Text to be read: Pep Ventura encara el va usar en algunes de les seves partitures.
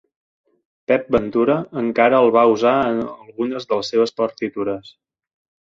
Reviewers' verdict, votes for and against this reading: rejected, 1, 2